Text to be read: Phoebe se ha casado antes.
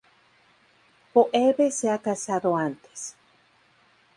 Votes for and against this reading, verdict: 2, 0, accepted